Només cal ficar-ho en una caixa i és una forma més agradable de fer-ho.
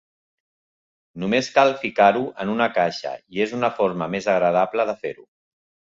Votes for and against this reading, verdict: 2, 0, accepted